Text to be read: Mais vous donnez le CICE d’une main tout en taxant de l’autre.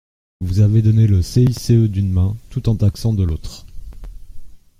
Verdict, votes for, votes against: rejected, 1, 2